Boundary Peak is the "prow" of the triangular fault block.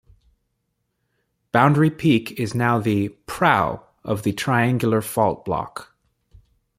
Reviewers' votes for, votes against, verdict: 1, 2, rejected